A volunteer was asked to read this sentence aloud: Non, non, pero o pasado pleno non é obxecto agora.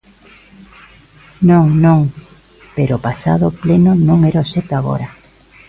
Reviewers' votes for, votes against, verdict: 2, 1, accepted